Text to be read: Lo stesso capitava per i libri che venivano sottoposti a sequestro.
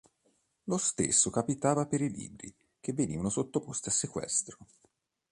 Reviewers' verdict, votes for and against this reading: accepted, 2, 0